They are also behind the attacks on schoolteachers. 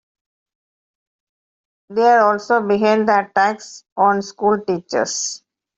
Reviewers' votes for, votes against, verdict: 1, 2, rejected